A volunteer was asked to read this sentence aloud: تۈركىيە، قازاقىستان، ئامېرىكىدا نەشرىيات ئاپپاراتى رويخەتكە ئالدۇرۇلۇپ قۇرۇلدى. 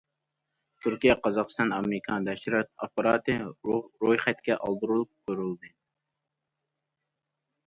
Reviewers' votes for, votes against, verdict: 0, 2, rejected